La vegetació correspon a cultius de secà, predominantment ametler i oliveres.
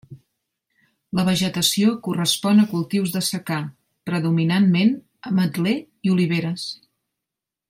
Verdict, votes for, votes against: accepted, 2, 0